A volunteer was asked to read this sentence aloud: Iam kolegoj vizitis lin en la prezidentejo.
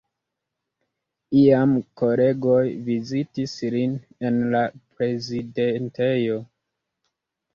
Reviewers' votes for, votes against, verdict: 0, 2, rejected